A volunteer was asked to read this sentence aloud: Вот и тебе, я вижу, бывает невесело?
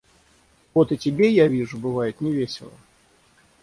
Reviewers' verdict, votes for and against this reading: rejected, 3, 3